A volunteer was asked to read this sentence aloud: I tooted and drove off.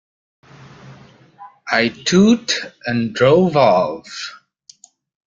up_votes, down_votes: 1, 2